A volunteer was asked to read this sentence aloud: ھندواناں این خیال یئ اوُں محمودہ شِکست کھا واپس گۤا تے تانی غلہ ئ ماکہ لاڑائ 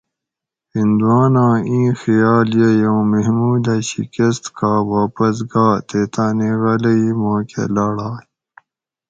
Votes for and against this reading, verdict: 4, 0, accepted